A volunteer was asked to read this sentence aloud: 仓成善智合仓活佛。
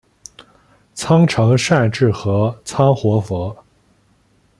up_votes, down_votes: 2, 0